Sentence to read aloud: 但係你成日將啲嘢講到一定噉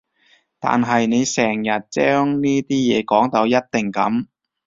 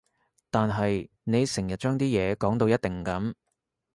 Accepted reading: second